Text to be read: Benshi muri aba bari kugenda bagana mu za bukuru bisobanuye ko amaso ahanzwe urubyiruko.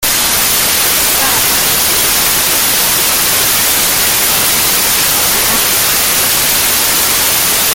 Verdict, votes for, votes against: rejected, 0, 3